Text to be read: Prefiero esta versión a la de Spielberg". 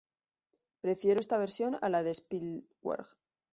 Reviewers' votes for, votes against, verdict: 0, 2, rejected